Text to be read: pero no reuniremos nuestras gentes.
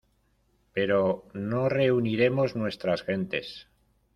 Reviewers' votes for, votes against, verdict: 0, 2, rejected